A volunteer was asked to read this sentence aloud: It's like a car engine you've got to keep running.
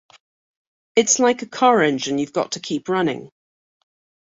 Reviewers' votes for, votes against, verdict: 2, 0, accepted